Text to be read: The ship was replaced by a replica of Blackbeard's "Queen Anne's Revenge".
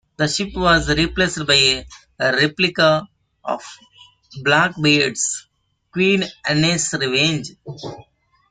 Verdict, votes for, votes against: accepted, 2, 1